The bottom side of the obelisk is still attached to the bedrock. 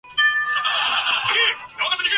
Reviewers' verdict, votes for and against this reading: rejected, 0, 2